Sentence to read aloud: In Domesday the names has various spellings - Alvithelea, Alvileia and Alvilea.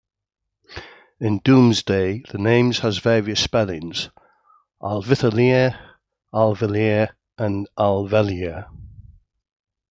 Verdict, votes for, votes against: accepted, 2, 0